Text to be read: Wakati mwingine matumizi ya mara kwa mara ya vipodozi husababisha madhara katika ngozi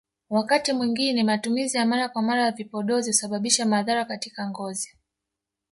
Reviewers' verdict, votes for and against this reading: rejected, 1, 2